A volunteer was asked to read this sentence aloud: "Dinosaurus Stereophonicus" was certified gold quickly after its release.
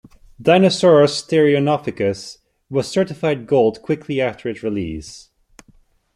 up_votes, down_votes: 1, 2